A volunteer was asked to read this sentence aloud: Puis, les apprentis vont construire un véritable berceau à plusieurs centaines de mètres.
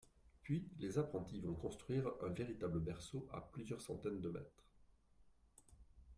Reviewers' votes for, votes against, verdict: 0, 2, rejected